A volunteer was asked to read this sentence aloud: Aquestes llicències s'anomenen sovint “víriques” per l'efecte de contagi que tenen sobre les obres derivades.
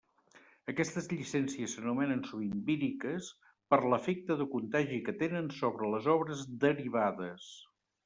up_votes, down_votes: 2, 0